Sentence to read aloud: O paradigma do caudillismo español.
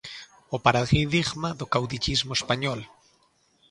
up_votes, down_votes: 0, 2